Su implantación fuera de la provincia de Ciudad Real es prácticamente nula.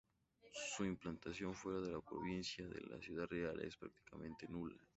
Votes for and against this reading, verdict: 0, 2, rejected